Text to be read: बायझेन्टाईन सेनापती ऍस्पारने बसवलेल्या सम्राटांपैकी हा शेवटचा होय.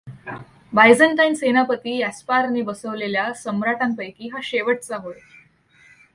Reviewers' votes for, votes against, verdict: 2, 0, accepted